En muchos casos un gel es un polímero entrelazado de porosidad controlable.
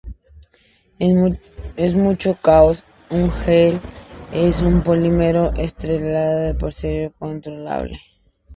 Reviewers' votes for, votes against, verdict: 0, 2, rejected